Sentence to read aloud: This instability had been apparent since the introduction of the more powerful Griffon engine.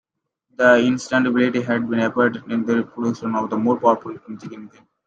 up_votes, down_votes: 1, 2